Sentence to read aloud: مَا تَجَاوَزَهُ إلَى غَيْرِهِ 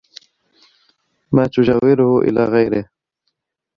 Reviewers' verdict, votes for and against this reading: rejected, 1, 2